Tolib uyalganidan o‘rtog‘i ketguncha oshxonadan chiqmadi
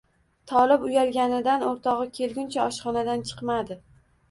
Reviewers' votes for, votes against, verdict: 1, 2, rejected